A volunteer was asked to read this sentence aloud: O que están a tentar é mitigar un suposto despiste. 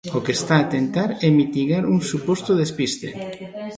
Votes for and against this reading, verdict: 1, 2, rejected